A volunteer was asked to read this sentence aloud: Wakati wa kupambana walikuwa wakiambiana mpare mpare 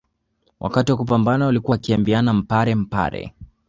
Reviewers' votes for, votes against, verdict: 1, 2, rejected